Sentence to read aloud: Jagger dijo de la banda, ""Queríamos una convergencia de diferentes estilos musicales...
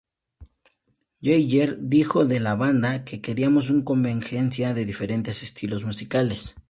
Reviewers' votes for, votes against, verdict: 2, 0, accepted